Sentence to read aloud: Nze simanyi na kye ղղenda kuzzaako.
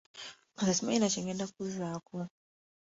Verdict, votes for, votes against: rejected, 0, 2